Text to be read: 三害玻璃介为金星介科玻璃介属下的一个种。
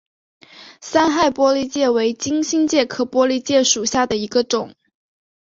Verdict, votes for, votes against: accepted, 3, 0